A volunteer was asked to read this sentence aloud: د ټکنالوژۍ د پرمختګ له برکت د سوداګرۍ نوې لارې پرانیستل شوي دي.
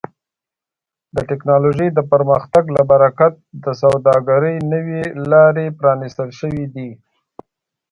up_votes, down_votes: 3, 0